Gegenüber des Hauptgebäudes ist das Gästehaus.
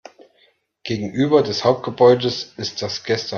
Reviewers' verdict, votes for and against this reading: rejected, 0, 2